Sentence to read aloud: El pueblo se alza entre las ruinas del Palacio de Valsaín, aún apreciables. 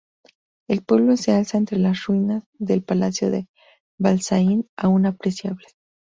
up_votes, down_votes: 2, 2